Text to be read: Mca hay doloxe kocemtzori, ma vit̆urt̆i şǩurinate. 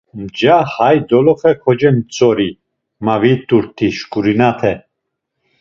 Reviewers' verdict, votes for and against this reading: accepted, 2, 0